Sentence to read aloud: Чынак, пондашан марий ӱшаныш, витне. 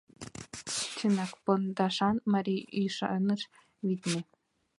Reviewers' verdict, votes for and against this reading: accepted, 2, 0